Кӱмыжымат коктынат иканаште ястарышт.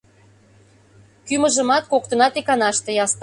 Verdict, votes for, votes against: rejected, 0, 2